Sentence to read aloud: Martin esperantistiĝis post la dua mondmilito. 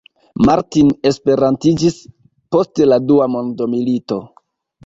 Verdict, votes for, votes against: rejected, 0, 2